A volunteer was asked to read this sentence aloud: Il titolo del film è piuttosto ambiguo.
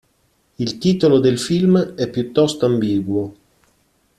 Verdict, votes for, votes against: accepted, 2, 0